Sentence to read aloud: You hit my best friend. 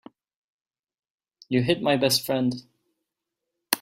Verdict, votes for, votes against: accepted, 3, 0